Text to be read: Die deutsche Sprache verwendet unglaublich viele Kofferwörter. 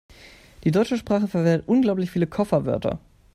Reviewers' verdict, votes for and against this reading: accepted, 2, 0